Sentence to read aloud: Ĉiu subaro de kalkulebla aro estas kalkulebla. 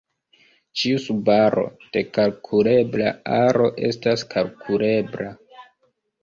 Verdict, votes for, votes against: rejected, 0, 2